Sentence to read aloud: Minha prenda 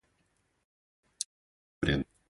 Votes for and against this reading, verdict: 0, 2, rejected